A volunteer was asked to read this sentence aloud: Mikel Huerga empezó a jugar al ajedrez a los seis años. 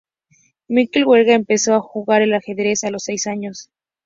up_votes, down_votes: 2, 0